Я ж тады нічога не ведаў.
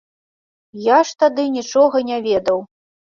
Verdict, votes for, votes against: accepted, 2, 0